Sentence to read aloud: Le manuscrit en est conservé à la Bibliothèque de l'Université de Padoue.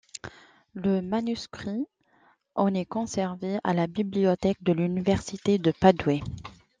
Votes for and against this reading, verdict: 1, 2, rejected